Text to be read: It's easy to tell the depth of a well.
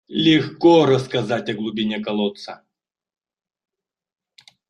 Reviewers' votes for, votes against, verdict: 0, 2, rejected